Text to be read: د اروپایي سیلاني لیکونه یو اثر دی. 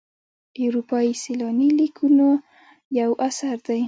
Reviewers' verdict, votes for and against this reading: rejected, 1, 2